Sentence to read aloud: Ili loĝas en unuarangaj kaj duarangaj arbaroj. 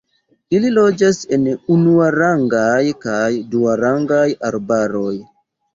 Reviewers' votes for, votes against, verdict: 2, 0, accepted